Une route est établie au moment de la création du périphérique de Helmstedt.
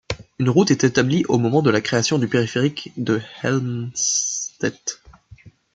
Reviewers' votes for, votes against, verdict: 1, 2, rejected